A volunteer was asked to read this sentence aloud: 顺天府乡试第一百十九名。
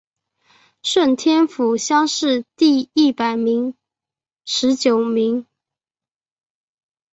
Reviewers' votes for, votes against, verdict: 1, 2, rejected